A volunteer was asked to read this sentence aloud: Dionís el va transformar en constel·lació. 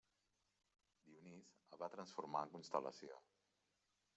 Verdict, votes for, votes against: rejected, 1, 2